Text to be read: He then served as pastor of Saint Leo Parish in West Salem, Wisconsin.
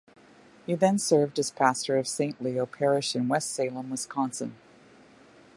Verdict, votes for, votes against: accepted, 2, 1